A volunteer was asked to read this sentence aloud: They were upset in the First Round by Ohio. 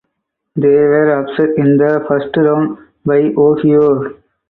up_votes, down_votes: 4, 0